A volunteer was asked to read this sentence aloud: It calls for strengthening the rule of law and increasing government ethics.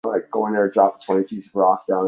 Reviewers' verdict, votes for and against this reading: rejected, 1, 2